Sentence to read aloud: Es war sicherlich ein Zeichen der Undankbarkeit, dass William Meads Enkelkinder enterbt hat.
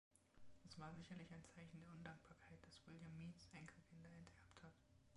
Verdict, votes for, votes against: rejected, 0, 2